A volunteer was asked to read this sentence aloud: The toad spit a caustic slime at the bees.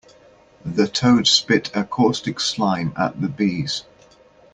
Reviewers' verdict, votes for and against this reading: accepted, 2, 0